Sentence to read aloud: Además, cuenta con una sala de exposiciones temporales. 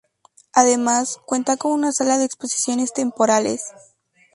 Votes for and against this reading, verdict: 2, 0, accepted